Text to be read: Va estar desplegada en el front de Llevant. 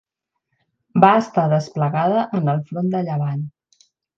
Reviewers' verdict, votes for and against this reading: accepted, 4, 0